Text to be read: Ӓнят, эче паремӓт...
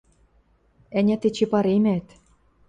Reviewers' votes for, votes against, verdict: 2, 0, accepted